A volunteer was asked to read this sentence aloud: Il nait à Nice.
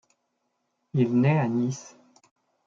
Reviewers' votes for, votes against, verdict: 1, 2, rejected